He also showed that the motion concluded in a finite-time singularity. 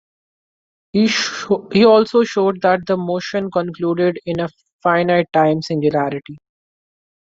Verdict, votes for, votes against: rejected, 1, 2